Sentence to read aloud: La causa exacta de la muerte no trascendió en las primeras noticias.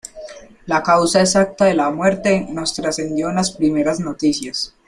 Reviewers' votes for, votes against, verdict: 1, 2, rejected